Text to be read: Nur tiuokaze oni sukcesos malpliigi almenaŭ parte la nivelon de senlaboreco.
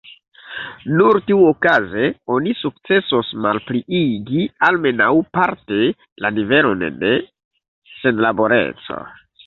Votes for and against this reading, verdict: 2, 3, rejected